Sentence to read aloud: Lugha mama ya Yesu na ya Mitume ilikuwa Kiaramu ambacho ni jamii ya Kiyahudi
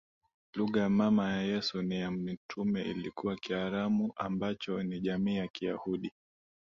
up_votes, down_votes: 2, 0